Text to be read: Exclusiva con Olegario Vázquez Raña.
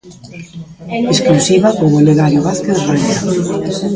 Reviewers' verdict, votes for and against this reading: rejected, 0, 2